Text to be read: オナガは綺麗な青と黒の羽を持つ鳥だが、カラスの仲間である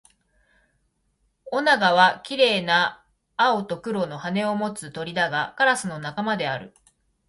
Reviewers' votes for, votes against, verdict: 0, 2, rejected